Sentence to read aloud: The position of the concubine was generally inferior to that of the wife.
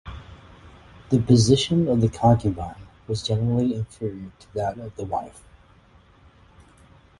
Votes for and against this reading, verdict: 6, 0, accepted